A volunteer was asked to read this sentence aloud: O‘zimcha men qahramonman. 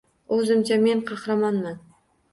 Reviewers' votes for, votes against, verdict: 2, 0, accepted